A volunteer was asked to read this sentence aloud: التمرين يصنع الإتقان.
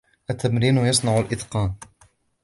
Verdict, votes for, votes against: accepted, 2, 0